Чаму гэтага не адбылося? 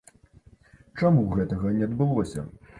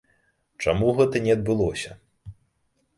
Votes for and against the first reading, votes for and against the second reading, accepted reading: 2, 0, 0, 2, first